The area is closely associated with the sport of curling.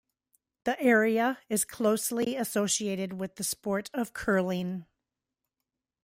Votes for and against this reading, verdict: 2, 1, accepted